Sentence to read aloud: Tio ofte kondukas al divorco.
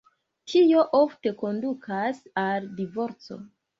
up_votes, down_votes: 1, 2